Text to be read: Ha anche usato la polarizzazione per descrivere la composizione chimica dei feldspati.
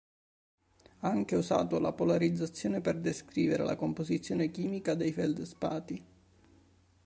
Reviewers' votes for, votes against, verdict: 0, 2, rejected